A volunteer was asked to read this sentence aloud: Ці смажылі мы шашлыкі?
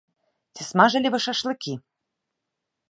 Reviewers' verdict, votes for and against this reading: rejected, 2, 3